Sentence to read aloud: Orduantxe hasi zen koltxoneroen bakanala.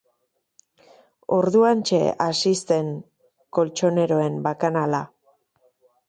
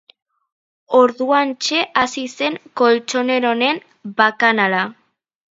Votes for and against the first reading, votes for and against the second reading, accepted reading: 2, 0, 2, 3, first